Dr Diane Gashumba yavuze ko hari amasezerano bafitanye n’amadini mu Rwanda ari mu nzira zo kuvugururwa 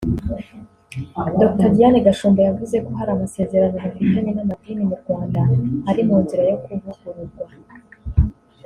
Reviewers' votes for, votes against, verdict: 1, 2, rejected